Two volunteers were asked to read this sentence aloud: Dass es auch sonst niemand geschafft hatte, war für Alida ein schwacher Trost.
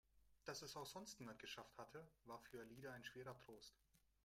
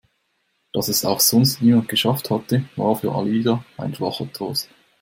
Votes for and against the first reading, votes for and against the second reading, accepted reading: 0, 3, 2, 0, second